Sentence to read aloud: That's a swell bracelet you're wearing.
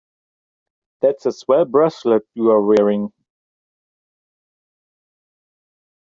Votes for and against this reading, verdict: 1, 2, rejected